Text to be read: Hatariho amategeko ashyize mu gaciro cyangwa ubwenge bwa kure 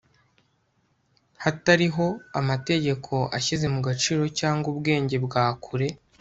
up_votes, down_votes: 2, 0